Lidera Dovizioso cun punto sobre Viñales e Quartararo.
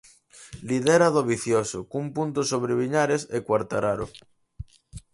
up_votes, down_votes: 4, 2